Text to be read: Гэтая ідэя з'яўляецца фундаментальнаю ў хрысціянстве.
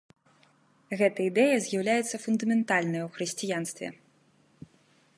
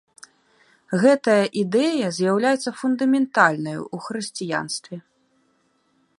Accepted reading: second